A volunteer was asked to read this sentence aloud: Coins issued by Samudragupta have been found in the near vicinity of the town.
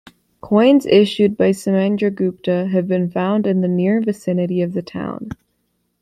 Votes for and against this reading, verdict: 1, 2, rejected